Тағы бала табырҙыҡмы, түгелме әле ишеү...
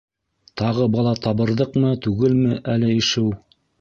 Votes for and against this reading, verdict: 0, 2, rejected